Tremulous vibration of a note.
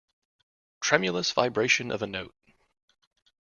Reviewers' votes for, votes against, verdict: 2, 0, accepted